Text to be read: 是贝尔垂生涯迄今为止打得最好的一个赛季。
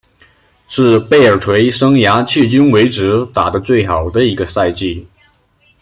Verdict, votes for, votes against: accepted, 2, 0